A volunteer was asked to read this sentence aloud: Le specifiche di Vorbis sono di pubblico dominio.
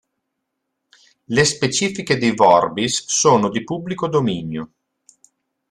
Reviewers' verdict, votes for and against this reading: accepted, 3, 0